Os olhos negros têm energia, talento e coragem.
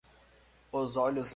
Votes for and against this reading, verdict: 0, 2, rejected